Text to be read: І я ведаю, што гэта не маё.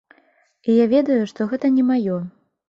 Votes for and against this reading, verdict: 2, 0, accepted